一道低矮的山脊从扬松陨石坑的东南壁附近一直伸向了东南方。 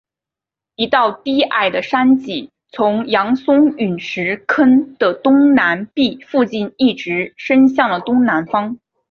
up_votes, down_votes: 2, 1